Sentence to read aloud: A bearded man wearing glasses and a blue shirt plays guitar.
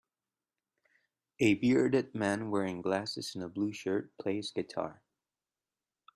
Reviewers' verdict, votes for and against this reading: accepted, 2, 0